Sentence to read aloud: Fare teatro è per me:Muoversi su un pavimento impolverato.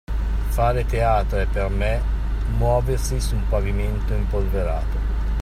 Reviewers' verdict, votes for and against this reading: accepted, 2, 0